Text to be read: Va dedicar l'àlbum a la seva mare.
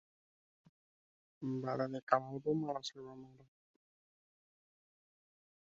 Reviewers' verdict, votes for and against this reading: rejected, 0, 2